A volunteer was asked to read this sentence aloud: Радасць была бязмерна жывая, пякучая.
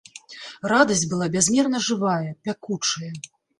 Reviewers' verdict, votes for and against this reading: accepted, 2, 0